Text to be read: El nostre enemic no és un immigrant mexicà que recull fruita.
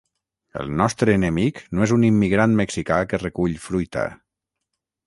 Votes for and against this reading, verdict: 6, 0, accepted